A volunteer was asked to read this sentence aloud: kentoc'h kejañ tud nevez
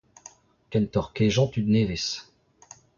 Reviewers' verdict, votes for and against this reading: rejected, 1, 2